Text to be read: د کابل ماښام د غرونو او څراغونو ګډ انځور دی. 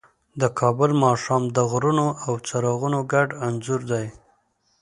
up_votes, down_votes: 2, 0